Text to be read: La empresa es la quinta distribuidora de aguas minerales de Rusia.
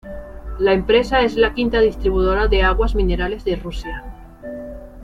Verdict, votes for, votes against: rejected, 0, 2